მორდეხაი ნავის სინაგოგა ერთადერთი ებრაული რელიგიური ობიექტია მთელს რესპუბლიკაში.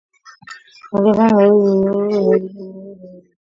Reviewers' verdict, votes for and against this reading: rejected, 1, 2